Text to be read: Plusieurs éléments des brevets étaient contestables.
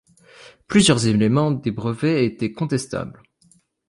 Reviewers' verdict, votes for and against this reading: accepted, 2, 0